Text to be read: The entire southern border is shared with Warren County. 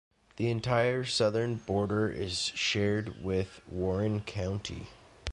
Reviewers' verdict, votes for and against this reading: accepted, 2, 0